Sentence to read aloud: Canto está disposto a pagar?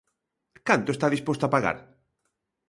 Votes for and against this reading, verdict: 2, 0, accepted